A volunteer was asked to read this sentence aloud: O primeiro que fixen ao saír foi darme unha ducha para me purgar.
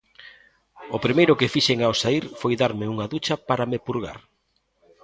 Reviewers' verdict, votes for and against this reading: accepted, 2, 0